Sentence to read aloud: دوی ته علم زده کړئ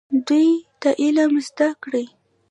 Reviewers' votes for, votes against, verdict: 2, 1, accepted